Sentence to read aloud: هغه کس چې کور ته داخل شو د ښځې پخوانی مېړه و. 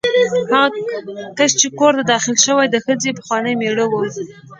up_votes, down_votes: 1, 2